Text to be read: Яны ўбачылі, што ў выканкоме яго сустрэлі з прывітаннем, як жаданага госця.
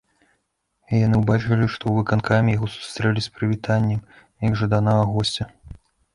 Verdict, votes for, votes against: rejected, 1, 2